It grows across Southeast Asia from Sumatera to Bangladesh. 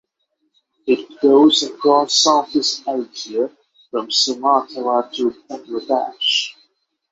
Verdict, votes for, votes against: accepted, 6, 0